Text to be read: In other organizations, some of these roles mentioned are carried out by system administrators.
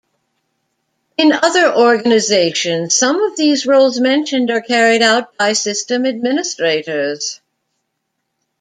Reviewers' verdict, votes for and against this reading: rejected, 1, 2